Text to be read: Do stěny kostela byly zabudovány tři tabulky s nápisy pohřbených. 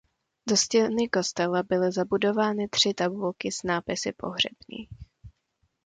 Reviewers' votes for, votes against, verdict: 0, 2, rejected